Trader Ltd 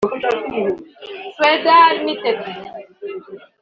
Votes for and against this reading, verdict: 0, 2, rejected